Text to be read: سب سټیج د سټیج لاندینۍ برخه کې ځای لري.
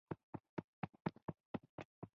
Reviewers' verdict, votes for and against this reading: rejected, 0, 3